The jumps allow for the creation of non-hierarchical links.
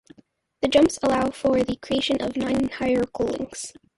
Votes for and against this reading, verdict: 0, 2, rejected